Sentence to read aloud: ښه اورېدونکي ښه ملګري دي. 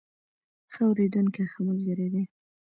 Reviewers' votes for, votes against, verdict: 1, 2, rejected